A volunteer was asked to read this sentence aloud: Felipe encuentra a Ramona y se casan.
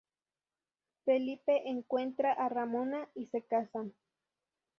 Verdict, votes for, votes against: accepted, 2, 0